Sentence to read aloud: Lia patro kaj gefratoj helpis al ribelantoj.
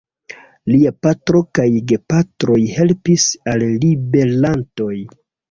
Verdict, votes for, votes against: rejected, 0, 2